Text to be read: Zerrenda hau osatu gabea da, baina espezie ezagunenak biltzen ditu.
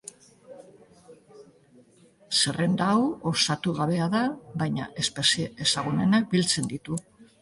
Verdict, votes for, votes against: accepted, 3, 0